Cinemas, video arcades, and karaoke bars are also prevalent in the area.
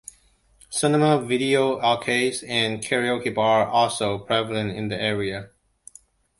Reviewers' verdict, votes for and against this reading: rejected, 0, 2